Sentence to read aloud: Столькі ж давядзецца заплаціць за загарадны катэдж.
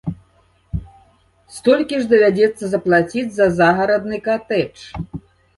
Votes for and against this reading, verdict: 2, 0, accepted